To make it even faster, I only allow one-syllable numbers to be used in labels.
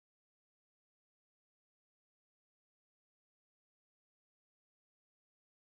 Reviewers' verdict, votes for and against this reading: rejected, 0, 2